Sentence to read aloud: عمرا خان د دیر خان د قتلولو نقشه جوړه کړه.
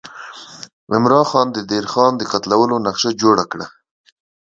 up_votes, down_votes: 2, 0